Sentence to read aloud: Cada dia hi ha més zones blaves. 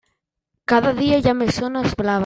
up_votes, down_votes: 0, 2